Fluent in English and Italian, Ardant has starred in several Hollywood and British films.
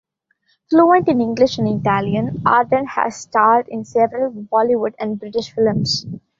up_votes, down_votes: 1, 2